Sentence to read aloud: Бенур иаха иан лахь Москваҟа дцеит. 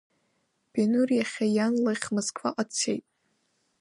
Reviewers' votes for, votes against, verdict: 0, 2, rejected